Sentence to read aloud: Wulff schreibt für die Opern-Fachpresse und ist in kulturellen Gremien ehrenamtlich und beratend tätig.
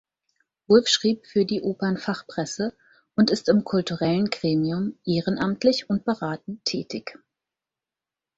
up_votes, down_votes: 2, 4